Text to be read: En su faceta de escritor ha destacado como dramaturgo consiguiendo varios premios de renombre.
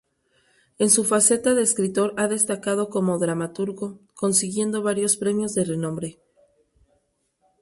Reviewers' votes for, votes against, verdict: 2, 0, accepted